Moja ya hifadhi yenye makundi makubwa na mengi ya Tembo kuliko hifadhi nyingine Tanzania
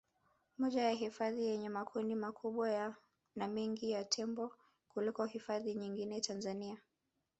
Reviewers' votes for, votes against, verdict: 1, 4, rejected